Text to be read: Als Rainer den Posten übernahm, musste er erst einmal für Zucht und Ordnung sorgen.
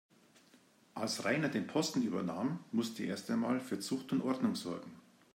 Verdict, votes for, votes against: rejected, 1, 2